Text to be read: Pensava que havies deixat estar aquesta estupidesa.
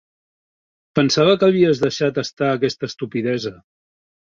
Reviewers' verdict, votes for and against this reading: accepted, 3, 0